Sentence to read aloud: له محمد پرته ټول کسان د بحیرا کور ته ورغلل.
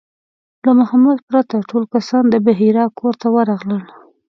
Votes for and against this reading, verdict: 3, 0, accepted